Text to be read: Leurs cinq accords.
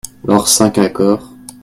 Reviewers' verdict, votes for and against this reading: accepted, 2, 0